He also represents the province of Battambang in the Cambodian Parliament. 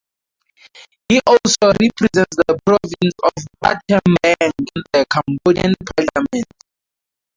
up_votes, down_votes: 0, 2